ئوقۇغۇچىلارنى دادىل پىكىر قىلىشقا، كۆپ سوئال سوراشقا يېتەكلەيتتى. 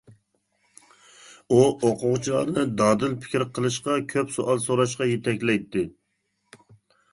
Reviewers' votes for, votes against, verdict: 1, 2, rejected